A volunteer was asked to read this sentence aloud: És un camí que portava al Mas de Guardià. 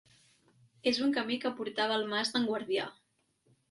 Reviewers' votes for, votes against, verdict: 1, 2, rejected